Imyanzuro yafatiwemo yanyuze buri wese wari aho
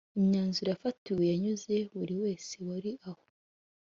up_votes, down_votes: 2, 0